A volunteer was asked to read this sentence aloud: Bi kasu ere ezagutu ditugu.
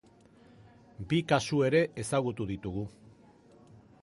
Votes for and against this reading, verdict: 2, 0, accepted